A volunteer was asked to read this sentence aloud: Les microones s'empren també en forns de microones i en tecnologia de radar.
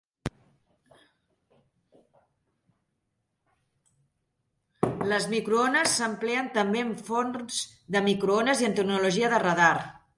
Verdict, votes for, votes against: rejected, 0, 2